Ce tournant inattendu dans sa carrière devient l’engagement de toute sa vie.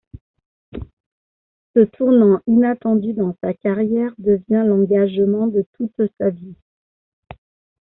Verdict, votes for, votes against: rejected, 0, 2